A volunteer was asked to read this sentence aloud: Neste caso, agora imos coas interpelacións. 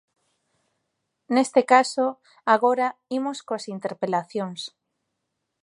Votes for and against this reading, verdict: 2, 0, accepted